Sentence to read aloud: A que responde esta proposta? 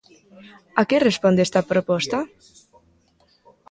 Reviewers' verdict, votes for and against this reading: accepted, 2, 0